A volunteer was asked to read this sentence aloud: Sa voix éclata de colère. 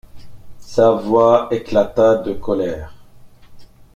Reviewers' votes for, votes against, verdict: 2, 1, accepted